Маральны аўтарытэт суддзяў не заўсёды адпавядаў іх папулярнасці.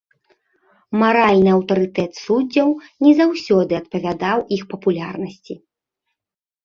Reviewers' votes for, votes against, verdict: 2, 0, accepted